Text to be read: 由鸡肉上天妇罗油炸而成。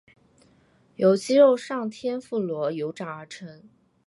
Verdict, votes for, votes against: rejected, 0, 2